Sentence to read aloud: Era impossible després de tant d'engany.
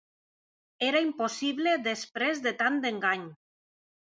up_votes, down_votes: 2, 0